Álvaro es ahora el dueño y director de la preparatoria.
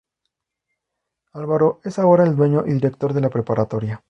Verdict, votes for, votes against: accepted, 2, 0